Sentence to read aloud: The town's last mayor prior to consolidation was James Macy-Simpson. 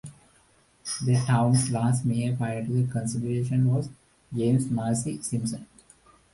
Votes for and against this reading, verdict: 0, 2, rejected